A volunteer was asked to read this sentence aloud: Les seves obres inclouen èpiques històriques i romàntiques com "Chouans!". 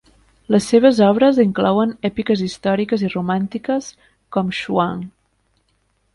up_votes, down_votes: 0, 2